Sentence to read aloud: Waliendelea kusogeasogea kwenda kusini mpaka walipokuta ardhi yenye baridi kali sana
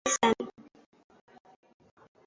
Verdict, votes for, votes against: rejected, 0, 2